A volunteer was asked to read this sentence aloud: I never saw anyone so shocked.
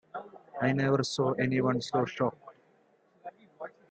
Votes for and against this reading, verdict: 2, 0, accepted